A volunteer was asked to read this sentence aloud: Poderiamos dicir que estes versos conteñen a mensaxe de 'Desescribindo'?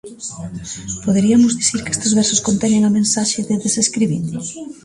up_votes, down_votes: 0, 2